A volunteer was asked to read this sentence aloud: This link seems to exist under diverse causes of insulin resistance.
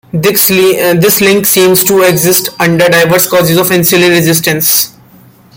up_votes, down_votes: 0, 2